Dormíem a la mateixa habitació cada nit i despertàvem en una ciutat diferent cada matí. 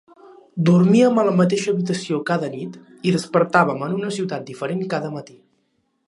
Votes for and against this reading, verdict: 3, 0, accepted